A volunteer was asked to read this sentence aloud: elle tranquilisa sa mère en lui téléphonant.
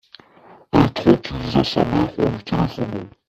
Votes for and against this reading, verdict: 2, 0, accepted